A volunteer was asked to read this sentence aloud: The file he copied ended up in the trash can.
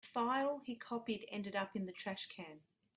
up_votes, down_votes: 2, 0